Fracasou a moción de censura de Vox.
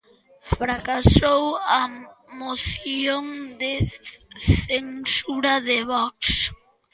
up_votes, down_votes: 2, 1